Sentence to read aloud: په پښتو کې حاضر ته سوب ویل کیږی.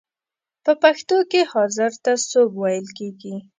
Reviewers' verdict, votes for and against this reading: accepted, 2, 0